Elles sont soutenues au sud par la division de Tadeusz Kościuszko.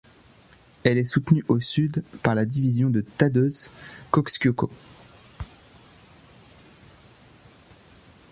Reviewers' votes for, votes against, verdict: 1, 2, rejected